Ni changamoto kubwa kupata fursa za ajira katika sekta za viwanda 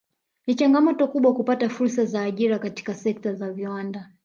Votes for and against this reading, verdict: 1, 2, rejected